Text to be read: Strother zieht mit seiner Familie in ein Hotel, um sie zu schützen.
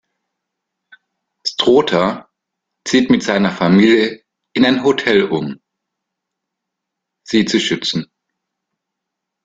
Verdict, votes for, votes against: rejected, 1, 2